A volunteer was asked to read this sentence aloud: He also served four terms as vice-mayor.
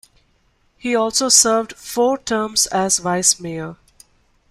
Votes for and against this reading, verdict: 2, 0, accepted